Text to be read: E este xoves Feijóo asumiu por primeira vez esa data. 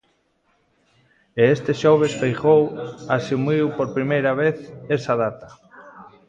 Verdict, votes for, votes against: rejected, 1, 2